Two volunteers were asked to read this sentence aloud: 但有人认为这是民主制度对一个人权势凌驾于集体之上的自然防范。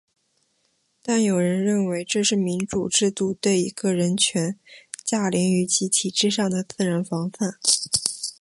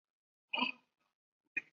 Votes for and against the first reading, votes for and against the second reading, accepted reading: 4, 3, 0, 4, first